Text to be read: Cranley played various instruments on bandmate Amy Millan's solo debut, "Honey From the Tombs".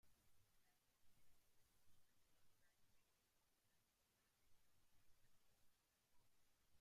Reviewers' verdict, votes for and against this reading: rejected, 0, 2